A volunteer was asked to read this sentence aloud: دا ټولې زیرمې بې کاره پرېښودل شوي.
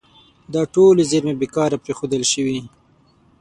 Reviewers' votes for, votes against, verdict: 6, 0, accepted